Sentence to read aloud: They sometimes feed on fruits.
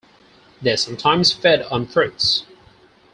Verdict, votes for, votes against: rejected, 2, 4